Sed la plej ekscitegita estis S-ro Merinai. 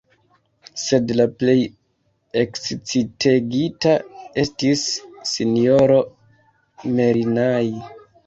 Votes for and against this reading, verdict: 2, 0, accepted